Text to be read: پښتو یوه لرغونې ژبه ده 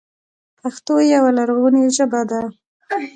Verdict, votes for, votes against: accepted, 2, 1